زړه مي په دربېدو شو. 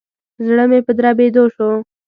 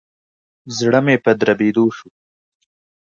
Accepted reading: second